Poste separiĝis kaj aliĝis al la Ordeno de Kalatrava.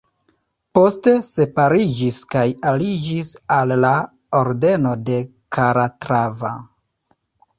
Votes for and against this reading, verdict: 1, 2, rejected